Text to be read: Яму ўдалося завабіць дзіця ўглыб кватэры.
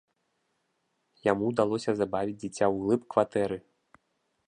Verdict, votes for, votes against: rejected, 0, 2